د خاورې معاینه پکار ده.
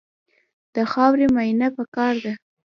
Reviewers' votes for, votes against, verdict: 2, 0, accepted